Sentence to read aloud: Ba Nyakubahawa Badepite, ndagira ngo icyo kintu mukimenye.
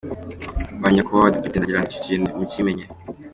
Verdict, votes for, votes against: accepted, 2, 0